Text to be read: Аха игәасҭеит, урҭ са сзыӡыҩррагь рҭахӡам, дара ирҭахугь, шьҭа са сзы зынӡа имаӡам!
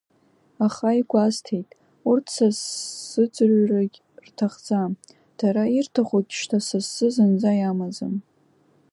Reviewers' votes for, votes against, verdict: 0, 2, rejected